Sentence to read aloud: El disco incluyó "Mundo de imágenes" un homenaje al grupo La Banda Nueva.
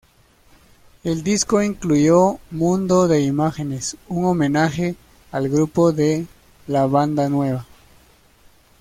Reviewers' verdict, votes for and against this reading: rejected, 0, 2